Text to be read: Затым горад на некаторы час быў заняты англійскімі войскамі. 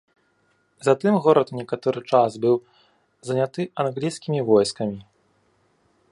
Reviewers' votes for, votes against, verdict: 1, 2, rejected